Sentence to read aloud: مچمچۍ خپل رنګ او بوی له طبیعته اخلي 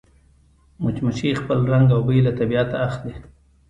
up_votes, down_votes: 2, 1